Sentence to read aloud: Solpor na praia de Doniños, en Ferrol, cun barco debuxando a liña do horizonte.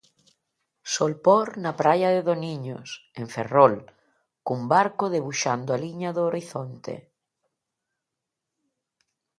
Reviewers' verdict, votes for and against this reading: accepted, 2, 0